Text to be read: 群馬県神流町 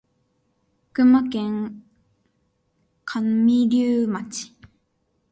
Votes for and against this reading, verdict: 0, 2, rejected